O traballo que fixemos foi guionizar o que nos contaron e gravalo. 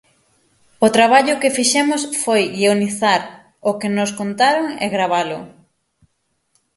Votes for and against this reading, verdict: 6, 0, accepted